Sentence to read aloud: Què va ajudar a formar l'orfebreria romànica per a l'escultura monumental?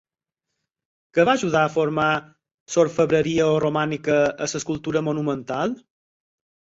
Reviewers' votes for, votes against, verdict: 2, 4, rejected